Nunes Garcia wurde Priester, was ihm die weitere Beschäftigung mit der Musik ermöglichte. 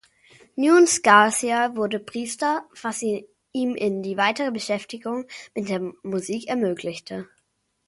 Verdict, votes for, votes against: rejected, 1, 2